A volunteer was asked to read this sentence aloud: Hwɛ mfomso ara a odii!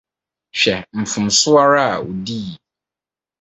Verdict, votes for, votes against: rejected, 2, 2